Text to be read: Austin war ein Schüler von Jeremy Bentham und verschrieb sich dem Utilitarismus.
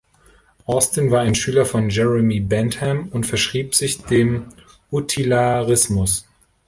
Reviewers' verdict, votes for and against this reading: rejected, 0, 2